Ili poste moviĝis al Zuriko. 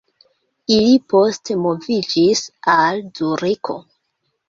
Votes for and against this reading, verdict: 2, 1, accepted